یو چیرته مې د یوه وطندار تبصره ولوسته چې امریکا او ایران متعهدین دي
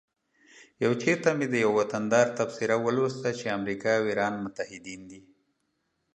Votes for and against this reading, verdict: 2, 0, accepted